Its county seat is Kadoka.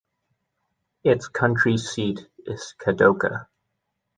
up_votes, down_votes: 0, 2